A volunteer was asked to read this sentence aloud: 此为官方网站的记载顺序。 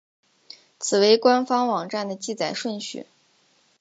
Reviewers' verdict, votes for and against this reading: accepted, 2, 1